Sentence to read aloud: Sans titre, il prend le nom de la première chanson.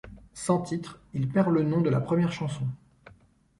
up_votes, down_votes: 0, 2